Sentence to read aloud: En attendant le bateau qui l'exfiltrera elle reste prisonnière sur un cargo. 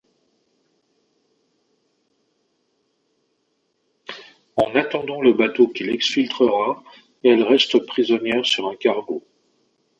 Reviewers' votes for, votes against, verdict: 2, 1, accepted